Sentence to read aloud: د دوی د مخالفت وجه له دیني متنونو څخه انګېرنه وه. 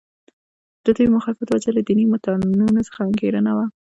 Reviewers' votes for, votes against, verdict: 0, 2, rejected